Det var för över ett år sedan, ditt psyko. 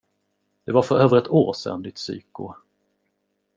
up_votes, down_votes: 2, 0